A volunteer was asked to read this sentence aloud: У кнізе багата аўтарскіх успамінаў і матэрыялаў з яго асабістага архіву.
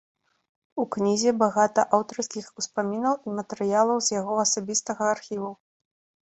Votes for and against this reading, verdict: 2, 0, accepted